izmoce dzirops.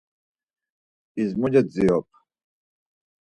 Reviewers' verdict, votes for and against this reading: rejected, 0, 4